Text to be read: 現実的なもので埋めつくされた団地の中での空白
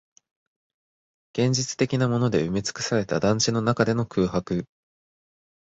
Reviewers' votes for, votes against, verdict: 4, 0, accepted